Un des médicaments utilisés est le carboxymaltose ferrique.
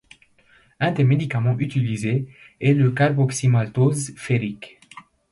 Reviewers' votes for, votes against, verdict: 2, 0, accepted